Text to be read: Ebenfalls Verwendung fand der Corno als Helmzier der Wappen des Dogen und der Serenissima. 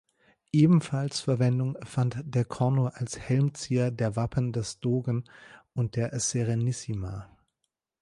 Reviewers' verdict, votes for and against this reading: accepted, 2, 0